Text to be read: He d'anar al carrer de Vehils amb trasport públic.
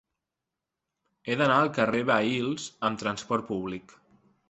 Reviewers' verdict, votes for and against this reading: rejected, 1, 2